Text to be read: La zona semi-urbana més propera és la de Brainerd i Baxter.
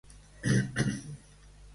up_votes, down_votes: 0, 2